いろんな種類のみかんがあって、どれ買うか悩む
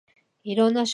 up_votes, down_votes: 1, 2